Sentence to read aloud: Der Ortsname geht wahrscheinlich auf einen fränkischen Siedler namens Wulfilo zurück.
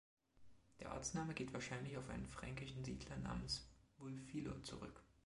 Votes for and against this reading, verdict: 2, 0, accepted